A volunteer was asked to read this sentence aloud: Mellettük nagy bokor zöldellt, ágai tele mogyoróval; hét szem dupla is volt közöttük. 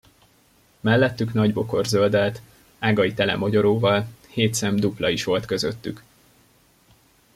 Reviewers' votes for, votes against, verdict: 2, 0, accepted